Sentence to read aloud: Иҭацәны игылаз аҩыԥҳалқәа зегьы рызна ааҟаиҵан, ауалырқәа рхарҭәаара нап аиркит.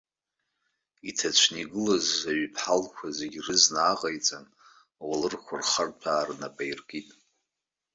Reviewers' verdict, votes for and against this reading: accepted, 2, 1